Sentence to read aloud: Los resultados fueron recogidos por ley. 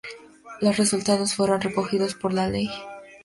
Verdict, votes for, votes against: rejected, 2, 2